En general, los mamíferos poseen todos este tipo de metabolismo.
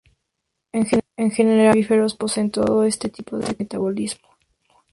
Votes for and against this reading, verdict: 2, 2, rejected